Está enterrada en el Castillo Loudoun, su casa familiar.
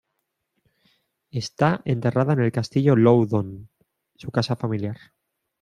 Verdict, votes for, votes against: accepted, 2, 0